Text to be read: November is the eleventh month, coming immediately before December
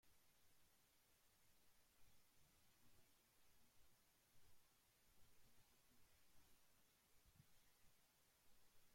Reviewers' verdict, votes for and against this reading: rejected, 0, 2